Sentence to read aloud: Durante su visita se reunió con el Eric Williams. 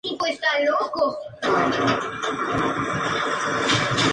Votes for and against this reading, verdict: 0, 2, rejected